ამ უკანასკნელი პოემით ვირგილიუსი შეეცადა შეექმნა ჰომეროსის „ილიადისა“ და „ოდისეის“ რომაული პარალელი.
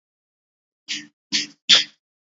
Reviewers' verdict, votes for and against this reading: rejected, 1, 2